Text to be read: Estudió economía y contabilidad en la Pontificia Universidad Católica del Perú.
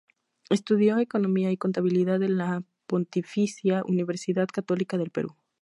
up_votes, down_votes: 4, 0